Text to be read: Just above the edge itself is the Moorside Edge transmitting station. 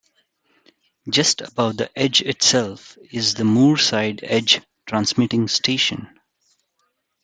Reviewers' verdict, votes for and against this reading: accepted, 2, 1